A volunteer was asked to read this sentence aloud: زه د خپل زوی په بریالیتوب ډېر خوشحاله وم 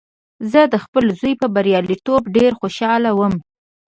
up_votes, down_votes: 2, 0